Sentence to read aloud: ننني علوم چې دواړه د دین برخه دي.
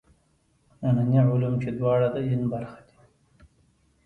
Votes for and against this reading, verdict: 1, 2, rejected